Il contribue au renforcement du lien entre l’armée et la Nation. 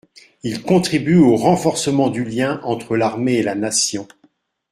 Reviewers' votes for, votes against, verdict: 2, 0, accepted